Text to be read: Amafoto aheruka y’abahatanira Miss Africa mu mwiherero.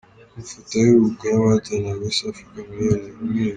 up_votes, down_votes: 2, 1